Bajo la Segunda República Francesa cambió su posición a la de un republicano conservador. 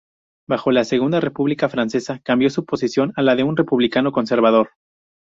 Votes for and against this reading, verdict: 2, 0, accepted